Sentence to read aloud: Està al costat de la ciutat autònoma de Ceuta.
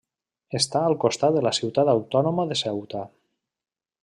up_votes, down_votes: 2, 0